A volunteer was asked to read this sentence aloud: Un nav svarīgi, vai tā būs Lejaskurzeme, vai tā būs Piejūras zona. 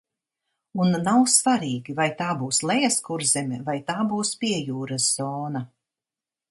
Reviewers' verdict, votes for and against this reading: accepted, 2, 0